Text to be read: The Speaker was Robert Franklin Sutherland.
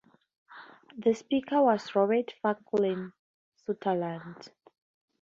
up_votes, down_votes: 2, 0